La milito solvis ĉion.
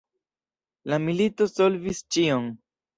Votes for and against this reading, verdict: 2, 0, accepted